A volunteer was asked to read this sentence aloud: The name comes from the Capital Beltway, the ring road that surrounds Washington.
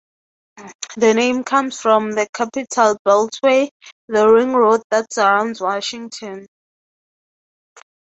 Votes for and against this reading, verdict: 6, 0, accepted